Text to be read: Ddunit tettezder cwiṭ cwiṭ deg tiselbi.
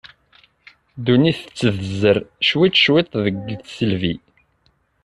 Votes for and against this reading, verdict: 0, 2, rejected